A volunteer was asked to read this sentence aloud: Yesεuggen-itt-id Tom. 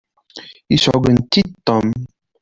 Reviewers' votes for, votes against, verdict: 2, 0, accepted